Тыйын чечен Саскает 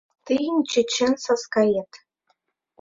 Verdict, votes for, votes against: rejected, 0, 2